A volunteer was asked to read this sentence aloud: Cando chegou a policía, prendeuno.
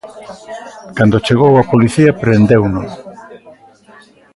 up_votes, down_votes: 1, 2